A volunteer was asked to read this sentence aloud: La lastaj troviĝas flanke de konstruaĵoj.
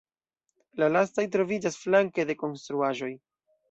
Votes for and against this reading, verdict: 1, 2, rejected